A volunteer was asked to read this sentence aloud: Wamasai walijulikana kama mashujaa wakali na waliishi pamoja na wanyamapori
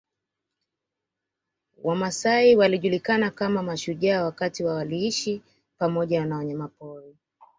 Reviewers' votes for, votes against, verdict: 2, 1, accepted